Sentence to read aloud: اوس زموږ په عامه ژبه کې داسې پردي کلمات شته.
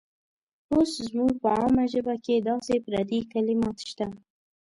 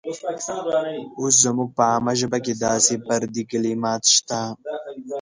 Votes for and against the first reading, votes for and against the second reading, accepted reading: 2, 0, 0, 2, first